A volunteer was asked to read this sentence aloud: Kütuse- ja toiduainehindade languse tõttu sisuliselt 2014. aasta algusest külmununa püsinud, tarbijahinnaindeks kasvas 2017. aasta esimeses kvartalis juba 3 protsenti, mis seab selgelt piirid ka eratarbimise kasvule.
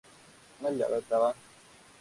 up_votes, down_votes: 0, 2